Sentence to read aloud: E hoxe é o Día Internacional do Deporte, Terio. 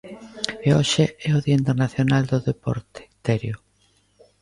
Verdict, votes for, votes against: accepted, 2, 0